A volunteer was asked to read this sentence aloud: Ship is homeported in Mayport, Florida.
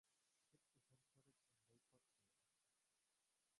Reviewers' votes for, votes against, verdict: 1, 3, rejected